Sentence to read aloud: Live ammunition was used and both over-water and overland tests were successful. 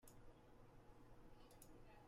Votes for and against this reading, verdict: 0, 2, rejected